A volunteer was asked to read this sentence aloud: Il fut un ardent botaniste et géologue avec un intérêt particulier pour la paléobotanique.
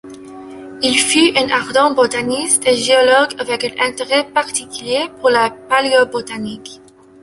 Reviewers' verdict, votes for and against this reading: rejected, 1, 3